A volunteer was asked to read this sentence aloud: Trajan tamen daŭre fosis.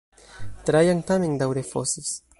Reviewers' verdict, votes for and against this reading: accepted, 2, 0